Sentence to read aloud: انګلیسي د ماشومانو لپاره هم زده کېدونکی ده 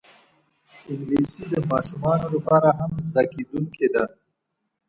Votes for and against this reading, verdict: 1, 2, rejected